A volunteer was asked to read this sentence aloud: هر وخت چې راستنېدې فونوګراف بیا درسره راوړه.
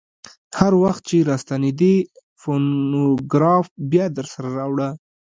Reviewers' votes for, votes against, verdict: 0, 2, rejected